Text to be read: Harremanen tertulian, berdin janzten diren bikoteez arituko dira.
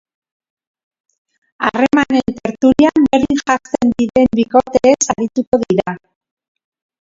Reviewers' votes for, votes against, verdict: 0, 2, rejected